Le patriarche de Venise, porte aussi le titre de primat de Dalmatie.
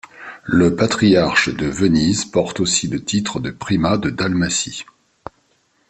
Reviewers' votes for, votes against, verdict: 2, 0, accepted